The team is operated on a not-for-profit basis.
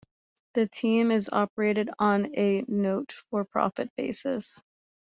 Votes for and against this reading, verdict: 1, 2, rejected